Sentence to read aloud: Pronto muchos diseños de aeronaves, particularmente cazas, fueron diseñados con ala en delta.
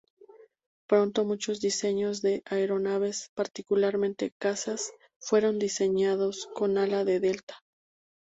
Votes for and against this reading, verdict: 0, 2, rejected